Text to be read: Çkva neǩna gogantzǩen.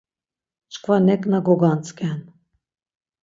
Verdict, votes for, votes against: accepted, 6, 0